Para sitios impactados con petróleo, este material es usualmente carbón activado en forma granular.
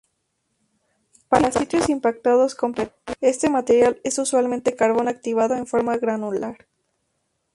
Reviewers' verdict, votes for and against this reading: rejected, 2, 2